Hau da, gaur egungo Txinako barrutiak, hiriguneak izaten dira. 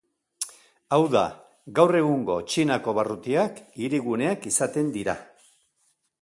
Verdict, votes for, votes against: accepted, 3, 0